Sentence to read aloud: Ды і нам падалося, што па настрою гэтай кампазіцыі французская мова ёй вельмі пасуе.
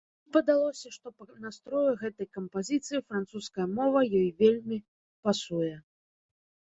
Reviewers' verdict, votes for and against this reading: rejected, 0, 2